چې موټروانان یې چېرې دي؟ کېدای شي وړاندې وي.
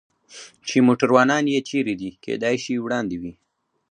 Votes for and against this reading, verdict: 4, 0, accepted